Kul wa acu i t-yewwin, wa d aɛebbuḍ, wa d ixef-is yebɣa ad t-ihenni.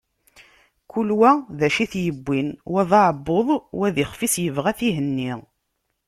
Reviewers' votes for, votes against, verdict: 2, 0, accepted